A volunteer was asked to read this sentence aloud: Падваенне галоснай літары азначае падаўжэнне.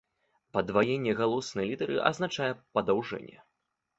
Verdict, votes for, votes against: accepted, 2, 0